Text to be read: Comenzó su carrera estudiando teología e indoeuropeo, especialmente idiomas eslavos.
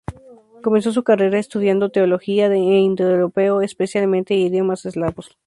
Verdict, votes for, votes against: accepted, 4, 0